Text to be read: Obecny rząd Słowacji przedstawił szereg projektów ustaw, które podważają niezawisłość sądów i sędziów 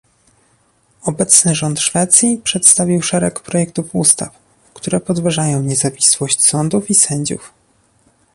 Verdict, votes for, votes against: rejected, 0, 2